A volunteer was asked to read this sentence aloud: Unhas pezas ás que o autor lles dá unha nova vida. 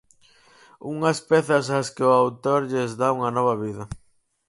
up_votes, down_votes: 4, 0